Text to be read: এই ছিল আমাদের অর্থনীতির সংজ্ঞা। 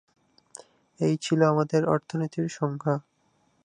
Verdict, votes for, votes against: accepted, 2, 0